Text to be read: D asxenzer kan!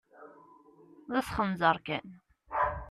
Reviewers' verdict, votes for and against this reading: rejected, 1, 2